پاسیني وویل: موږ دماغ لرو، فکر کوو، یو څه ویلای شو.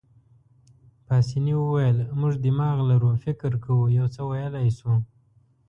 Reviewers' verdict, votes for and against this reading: accepted, 3, 0